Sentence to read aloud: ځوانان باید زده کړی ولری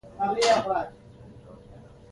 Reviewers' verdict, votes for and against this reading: rejected, 1, 2